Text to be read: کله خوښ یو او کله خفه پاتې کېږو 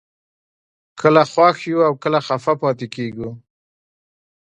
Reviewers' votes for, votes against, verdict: 1, 2, rejected